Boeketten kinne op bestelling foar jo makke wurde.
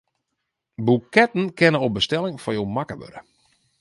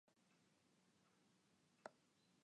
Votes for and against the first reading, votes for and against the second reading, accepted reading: 2, 0, 0, 2, first